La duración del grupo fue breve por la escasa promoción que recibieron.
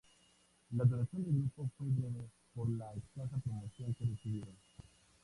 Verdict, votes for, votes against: rejected, 0, 2